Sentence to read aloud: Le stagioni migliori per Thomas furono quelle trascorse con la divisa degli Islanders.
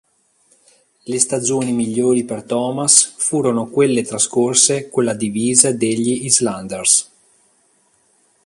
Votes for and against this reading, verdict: 1, 2, rejected